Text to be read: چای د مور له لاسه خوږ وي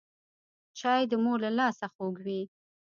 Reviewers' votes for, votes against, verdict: 1, 2, rejected